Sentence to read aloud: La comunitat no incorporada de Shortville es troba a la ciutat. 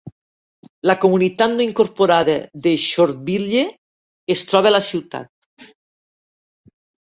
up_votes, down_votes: 0, 2